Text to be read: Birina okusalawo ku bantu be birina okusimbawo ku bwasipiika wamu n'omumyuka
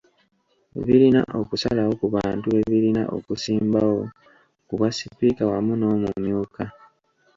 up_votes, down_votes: 3, 0